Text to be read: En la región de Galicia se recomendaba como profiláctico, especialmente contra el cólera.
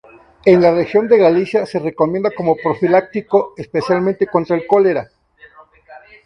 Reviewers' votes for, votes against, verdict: 0, 2, rejected